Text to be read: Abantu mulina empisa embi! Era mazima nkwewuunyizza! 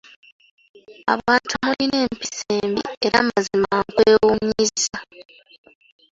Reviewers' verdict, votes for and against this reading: accepted, 2, 0